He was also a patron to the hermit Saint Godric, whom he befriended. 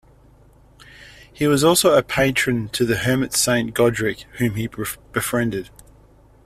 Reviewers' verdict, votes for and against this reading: accepted, 2, 1